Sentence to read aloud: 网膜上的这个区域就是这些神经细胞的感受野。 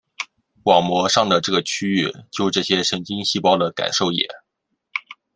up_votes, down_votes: 1, 2